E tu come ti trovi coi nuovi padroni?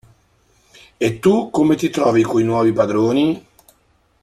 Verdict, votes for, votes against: accepted, 2, 0